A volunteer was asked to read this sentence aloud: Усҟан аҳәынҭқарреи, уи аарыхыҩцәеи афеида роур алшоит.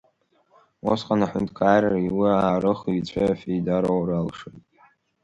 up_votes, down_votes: 2, 1